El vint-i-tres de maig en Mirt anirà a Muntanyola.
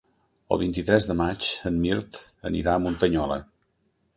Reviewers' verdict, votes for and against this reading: accepted, 3, 0